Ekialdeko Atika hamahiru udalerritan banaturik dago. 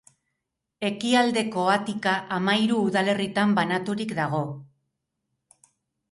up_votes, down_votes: 4, 0